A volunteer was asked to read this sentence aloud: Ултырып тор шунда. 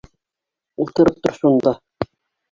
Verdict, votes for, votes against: rejected, 0, 2